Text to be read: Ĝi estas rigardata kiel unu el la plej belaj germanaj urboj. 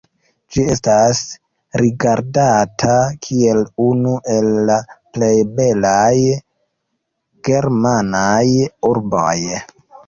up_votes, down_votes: 2, 0